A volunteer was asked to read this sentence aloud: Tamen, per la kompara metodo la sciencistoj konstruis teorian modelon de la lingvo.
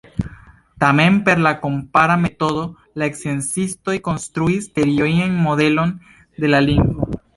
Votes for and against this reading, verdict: 1, 2, rejected